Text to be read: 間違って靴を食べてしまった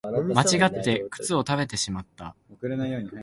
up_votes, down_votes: 2, 1